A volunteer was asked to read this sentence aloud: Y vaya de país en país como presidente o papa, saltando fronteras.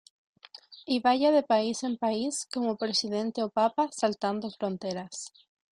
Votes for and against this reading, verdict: 2, 0, accepted